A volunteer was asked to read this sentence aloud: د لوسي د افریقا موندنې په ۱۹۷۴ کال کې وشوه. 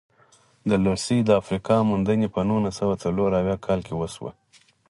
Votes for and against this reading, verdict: 0, 2, rejected